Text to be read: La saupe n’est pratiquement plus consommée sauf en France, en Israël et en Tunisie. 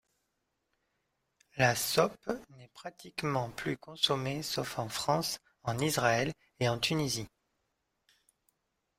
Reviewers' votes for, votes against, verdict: 2, 0, accepted